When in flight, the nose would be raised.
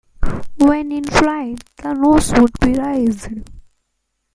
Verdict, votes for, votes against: rejected, 0, 2